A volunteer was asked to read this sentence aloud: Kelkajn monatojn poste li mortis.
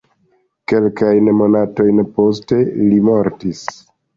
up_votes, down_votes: 2, 0